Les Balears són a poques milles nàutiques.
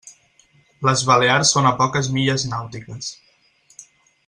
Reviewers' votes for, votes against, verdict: 6, 0, accepted